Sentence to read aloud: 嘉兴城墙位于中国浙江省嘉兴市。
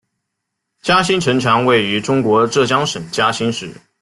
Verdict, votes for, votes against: accepted, 2, 0